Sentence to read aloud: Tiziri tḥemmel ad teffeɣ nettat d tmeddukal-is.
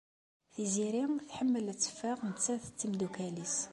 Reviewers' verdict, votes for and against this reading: accepted, 2, 0